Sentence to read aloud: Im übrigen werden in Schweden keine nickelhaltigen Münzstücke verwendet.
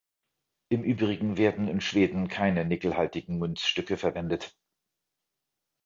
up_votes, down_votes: 2, 0